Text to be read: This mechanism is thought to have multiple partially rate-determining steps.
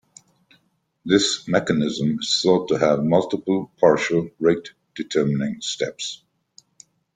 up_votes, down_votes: 0, 2